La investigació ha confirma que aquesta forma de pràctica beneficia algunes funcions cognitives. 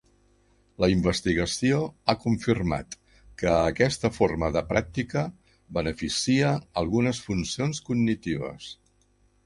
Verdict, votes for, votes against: rejected, 0, 2